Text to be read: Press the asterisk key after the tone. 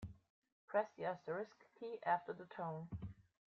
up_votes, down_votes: 2, 0